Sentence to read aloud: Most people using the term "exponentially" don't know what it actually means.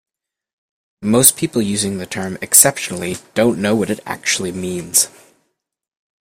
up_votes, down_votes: 0, 2